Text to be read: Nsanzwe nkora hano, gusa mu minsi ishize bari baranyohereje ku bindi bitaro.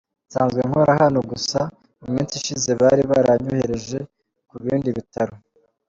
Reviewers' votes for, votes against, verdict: 2, 0, accepted